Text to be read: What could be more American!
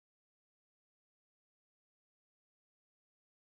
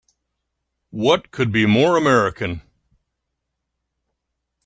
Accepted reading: second